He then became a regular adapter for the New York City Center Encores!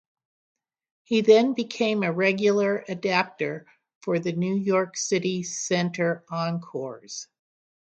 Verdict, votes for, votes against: accepted, 6, 0